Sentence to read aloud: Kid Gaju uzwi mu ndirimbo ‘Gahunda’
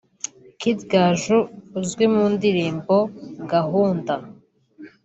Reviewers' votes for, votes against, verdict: 3, 0, accepted